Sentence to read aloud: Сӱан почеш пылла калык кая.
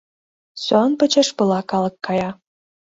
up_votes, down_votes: 1, 2